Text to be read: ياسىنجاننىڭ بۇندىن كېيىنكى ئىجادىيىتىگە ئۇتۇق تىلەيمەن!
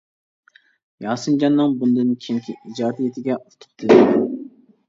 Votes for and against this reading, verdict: 1, 2, rejected